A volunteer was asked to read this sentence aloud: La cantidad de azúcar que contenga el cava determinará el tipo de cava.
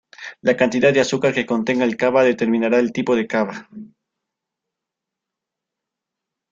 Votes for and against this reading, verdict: 2, 0, accepted